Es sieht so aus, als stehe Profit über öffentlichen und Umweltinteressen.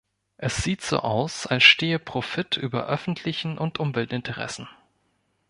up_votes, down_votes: 2, 0